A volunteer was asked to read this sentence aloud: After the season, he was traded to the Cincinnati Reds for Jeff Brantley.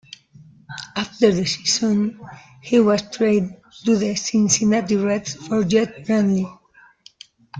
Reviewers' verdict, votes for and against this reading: rejected, 0, 2